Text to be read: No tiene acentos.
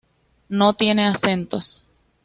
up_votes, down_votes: 2, 0